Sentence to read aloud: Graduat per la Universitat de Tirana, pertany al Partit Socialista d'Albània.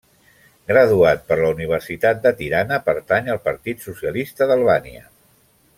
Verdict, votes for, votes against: accepted, 4, 0